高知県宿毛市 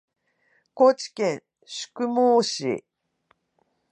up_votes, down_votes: 0, 2